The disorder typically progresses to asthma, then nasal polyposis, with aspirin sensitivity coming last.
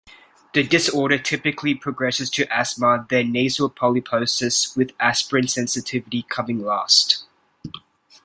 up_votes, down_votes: 2, 0